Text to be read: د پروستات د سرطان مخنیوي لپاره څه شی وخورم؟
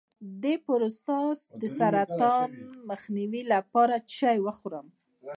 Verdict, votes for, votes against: accepted, 2, 0